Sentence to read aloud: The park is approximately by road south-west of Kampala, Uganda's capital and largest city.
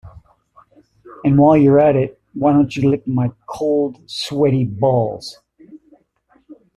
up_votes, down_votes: 0, 2